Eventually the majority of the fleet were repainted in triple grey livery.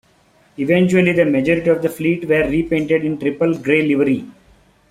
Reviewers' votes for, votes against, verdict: 1, 2, rejected